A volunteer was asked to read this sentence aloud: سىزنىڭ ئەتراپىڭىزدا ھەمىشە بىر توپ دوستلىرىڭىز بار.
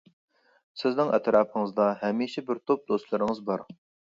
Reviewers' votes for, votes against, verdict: 2, 0, accepted